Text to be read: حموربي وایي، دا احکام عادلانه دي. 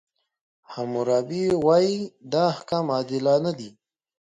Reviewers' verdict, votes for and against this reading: accepted, 3, 0